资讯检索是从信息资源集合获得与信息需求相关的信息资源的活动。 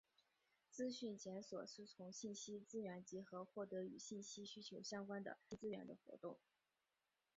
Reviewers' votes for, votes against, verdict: 2, 1, accepted